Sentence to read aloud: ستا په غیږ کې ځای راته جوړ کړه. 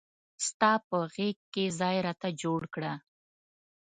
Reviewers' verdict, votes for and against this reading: accepted, 2, 0